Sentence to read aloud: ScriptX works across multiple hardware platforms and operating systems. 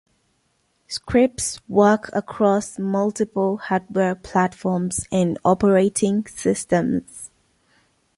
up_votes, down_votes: 0, 2